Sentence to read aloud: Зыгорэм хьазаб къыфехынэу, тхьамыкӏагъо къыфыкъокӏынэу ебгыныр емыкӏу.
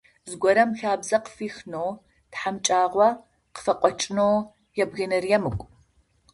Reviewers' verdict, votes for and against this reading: rejected, 0, 2